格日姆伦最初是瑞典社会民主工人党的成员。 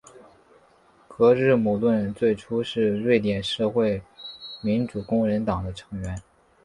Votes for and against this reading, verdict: 4, 0, accepted